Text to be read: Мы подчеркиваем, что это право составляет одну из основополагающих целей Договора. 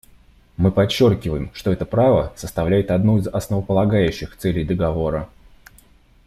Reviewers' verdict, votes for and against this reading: accepted, 2, 0